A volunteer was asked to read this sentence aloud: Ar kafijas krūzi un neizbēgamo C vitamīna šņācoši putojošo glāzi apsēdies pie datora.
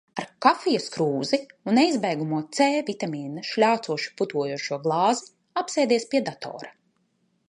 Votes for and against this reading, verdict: 0, 2, rejected